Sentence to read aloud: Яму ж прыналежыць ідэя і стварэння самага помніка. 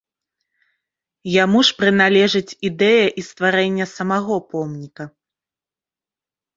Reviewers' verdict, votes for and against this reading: rejected, 1, 2